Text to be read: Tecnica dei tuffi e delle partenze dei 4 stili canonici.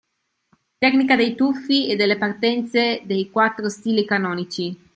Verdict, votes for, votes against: rejected, 0, 2